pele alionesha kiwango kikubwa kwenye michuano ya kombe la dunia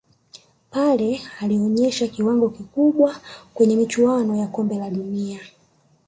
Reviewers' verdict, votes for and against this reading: rejected, 1, 2